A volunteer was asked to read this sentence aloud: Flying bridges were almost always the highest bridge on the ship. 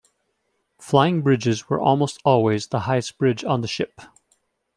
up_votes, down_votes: 2, 0